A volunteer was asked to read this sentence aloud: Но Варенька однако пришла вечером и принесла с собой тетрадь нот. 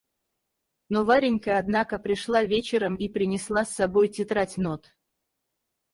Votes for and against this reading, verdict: 0, 4, rejected